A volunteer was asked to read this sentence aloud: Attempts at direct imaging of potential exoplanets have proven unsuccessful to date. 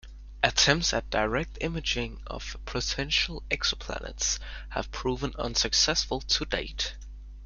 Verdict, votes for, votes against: accepted, 2, 1